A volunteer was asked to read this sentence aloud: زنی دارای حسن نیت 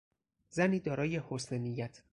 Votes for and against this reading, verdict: 4, 0, accepted